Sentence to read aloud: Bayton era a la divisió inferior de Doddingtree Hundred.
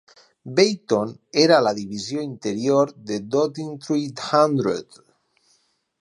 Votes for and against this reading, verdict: 0, 4, rejected